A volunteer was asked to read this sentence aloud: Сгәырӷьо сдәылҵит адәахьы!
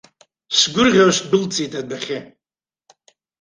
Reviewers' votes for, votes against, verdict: 2, 0, accepted